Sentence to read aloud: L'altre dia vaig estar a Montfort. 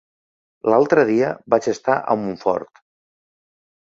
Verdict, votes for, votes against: accepted, 3, 0